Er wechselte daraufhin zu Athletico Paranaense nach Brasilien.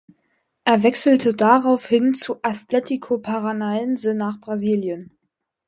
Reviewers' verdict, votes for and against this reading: rejected, 2, 4